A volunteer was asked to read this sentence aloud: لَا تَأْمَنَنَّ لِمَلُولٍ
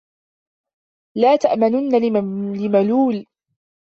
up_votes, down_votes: 0, 2